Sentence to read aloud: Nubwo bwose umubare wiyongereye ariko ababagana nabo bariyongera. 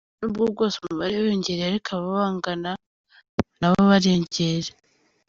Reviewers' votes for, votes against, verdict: 1, 2, rejected